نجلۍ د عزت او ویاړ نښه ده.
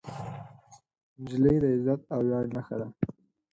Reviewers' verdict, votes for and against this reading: accepted, 4, 2